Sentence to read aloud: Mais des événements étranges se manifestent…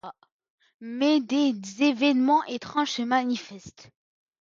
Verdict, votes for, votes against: accepted, 2, 0